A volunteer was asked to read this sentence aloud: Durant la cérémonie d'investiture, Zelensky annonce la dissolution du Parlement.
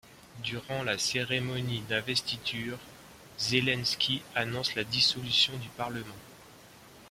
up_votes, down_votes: 2, 0